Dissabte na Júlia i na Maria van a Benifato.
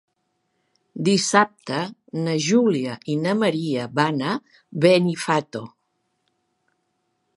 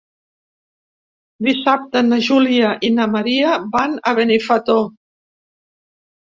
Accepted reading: first